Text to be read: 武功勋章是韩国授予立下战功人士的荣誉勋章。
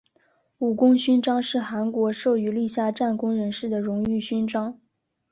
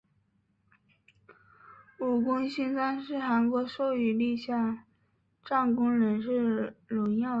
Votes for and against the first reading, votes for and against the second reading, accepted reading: 3, 1, 0, 2, first